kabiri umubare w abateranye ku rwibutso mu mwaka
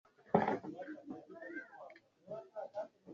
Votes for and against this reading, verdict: 0, 2, rejected